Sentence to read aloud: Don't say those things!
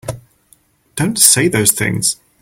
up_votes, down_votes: 4, 0